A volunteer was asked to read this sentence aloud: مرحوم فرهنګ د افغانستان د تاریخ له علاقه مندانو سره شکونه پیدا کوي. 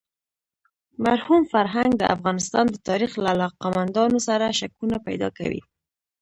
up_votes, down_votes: 1, 2